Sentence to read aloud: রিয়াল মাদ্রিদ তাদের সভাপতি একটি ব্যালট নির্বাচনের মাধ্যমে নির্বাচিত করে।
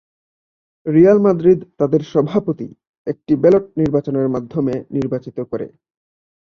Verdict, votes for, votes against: accepted, 3, 0